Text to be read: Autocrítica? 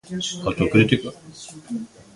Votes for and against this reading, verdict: 1, 2, rejected